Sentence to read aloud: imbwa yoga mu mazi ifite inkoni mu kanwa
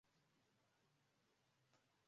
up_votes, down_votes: 0, 2